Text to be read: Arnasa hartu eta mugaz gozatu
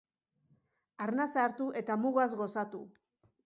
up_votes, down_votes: 2, 0